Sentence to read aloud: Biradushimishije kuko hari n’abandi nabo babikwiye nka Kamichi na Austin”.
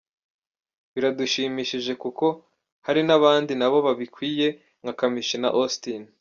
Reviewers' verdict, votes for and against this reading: accepted, 2, 0